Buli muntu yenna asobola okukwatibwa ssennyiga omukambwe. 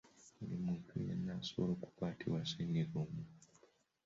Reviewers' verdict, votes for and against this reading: rejected, 1, 2